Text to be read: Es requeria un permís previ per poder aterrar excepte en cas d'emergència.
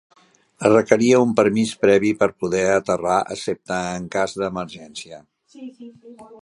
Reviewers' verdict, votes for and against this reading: accepted, 3, 0